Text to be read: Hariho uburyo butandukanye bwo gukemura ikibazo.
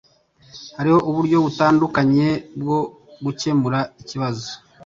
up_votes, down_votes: 2, 0